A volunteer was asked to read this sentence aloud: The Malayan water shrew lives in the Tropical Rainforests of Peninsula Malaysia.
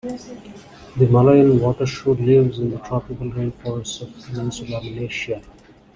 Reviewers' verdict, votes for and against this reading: accepted, 2, 1